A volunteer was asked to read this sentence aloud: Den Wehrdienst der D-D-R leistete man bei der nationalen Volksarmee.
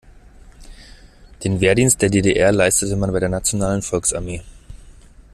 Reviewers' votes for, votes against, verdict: 2, 0, accepted